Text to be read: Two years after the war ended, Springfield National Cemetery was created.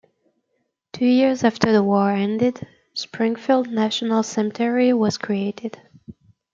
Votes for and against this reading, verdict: 2, 0, accepted